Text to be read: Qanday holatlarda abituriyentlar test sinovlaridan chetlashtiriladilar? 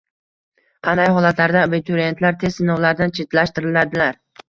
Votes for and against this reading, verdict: 0, 2, rejected